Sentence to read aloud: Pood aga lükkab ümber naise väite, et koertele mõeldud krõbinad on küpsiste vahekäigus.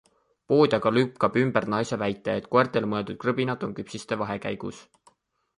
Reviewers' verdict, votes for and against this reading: accepted, 2, 1